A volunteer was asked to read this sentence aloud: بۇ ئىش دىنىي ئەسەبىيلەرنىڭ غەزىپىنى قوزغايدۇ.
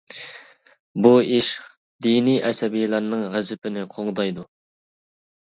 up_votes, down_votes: 0, 2